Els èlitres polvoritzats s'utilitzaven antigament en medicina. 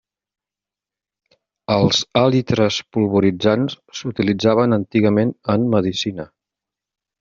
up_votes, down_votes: 0, 2